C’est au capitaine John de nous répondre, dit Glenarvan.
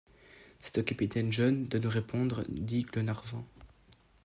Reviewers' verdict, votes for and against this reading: rejected, 1, 2